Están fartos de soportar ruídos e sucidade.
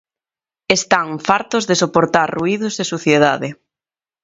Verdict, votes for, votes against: rejected, 0, 2